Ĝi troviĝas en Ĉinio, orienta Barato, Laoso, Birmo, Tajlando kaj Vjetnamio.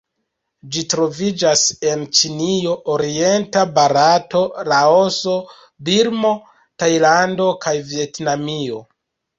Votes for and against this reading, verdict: 2, 0, accepted